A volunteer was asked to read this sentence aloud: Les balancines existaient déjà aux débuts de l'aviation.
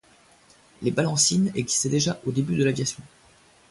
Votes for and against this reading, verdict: 2, 0, accepted